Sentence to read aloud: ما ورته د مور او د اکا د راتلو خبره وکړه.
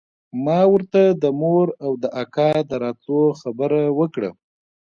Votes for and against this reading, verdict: 2, 0, accepted